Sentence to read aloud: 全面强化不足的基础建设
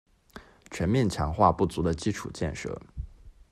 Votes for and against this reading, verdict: 3, 1, accepted